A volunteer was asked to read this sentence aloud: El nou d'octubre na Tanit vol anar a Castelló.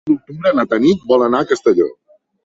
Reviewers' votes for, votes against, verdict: 1, 2, rejected